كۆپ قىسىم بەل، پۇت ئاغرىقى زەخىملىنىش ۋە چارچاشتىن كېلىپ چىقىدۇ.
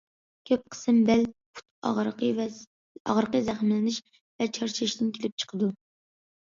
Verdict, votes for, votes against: rejected, 0, 2